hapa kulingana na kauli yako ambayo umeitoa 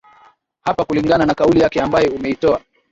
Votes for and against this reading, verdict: 2, 0, accepted